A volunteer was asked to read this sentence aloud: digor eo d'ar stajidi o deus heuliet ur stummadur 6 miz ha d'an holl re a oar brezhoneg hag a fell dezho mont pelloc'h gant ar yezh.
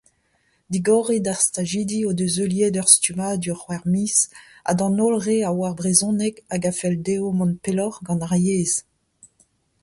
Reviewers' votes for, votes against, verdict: 0, 2, rejected